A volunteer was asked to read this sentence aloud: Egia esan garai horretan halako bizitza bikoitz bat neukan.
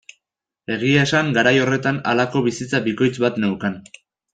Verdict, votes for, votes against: accepted, 2, 0